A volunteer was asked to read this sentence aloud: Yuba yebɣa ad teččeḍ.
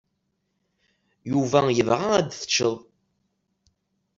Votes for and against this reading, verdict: 2, 0, accepted